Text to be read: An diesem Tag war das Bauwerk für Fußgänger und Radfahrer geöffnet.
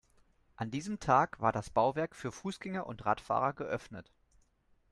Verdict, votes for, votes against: accepted, 2, 0